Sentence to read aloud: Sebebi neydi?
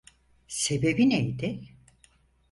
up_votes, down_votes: 4, 0